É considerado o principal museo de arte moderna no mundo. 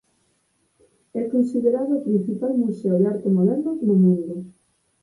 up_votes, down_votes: 2, 4